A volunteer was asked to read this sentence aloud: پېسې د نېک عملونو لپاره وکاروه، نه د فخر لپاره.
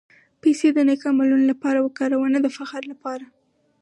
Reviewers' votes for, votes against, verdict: 0, 2, rejected